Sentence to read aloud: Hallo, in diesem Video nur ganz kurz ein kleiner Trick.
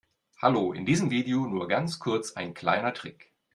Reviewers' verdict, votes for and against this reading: accepted, 2, 0